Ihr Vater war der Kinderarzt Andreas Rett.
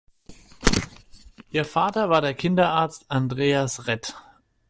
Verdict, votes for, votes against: accepted, 2, 0